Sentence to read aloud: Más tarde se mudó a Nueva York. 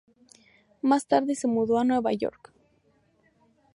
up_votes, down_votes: 2, 0